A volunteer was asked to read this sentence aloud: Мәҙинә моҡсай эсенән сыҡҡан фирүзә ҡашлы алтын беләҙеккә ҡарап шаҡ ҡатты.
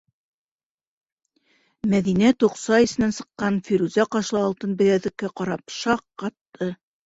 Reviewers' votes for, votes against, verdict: 0, 2, rejected